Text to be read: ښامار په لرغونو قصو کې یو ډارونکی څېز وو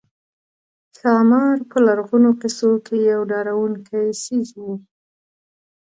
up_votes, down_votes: 2, 1